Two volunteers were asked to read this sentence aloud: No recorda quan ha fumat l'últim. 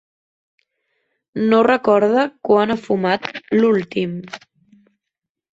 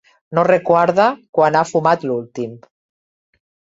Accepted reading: first